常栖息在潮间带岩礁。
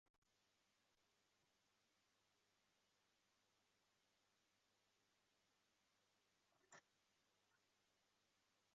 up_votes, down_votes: 0, 2